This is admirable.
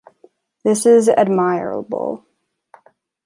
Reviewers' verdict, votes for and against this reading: rejected, 1, 2